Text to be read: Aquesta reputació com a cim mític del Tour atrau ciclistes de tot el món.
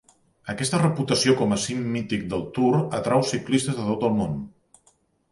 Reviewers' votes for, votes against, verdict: 2, 0, accepted